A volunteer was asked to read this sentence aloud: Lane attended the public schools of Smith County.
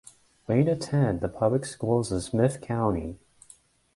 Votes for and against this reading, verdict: 1, 2, rejected